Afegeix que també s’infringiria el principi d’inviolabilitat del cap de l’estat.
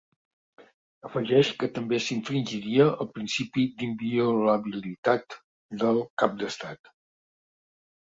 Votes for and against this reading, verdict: 2, 1, accepted